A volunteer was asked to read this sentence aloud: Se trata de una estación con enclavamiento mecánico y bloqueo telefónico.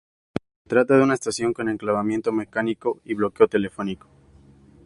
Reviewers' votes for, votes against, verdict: 2, 0, accepted